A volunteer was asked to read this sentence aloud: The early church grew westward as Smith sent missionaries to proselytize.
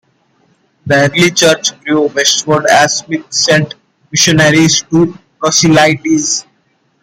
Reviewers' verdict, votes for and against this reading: rejected, 0, 2